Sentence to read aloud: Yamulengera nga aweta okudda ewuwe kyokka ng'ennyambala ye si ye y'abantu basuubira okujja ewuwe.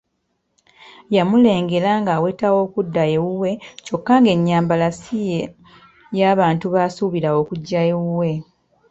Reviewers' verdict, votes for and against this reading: accepted, 2, 1